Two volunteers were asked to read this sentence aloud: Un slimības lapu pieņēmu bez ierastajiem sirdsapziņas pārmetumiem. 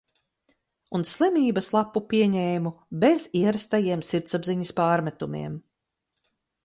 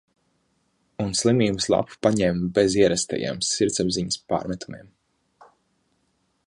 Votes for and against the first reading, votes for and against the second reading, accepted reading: 4, 0, 0, 2, first